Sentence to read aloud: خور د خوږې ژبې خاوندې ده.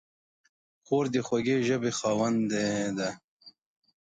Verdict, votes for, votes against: accepted, 2, 0